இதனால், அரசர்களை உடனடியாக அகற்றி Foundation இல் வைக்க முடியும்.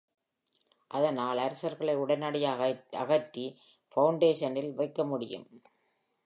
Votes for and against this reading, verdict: 0, 2, rejected